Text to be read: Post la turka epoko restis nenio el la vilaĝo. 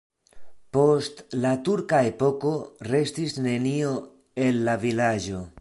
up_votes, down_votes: 2, 0